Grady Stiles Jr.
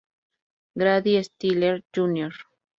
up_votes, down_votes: 0, 2